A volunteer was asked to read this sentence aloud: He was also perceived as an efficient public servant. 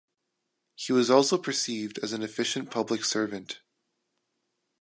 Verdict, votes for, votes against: accepted, 2, 0